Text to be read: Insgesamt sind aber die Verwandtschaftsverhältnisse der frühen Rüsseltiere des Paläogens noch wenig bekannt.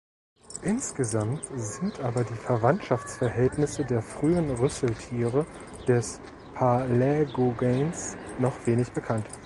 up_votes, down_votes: 0, 2